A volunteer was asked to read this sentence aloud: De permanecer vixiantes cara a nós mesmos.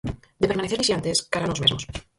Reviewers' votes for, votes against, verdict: 2, 4, rejected